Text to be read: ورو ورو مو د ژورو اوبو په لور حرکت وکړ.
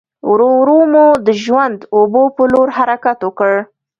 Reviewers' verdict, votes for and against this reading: accepted, 2, 1